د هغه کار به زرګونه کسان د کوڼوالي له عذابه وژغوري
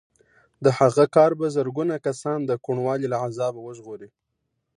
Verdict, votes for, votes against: accepted, 2, 0